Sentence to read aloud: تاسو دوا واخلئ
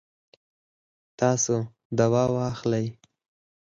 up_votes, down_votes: 2, 4